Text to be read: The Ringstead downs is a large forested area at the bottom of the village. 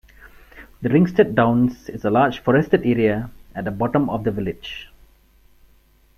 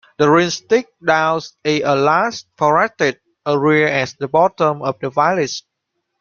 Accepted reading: first